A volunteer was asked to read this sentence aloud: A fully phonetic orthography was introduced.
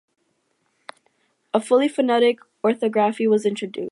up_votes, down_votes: 2, 0